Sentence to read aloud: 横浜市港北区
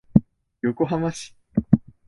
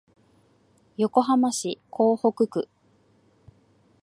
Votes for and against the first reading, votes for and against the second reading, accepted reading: 0, 2, 3, 0, second